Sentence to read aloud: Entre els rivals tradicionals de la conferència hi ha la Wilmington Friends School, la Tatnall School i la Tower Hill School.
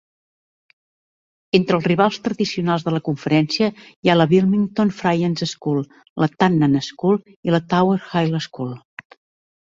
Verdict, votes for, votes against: rejected, 0, 2